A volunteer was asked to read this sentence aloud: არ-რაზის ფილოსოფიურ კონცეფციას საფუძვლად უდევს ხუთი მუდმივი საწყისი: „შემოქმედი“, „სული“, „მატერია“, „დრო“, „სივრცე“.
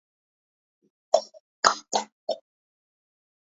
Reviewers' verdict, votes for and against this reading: rejected, 0, 2